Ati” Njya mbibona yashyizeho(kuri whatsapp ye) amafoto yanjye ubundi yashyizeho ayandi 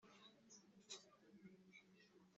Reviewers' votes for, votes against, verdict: 0, 2, rejected